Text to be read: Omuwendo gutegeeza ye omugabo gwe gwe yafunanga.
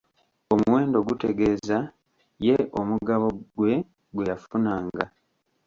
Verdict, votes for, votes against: accepted, 2, 1